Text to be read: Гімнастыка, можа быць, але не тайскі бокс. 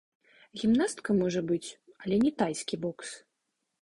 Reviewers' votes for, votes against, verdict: 0, 2, rejected